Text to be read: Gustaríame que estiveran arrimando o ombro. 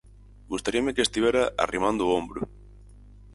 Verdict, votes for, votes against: rejected, 0, 4